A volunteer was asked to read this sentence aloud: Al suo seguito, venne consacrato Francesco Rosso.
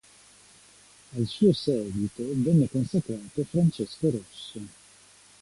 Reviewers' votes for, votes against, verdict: 2, 0, accepted